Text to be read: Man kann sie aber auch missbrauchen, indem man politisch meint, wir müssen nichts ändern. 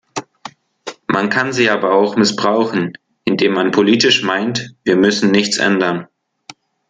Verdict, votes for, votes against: accepted, 2, 0